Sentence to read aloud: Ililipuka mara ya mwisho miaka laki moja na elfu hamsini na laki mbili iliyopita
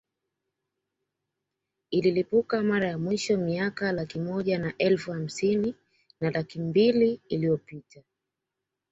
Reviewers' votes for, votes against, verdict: 2, 1, accepted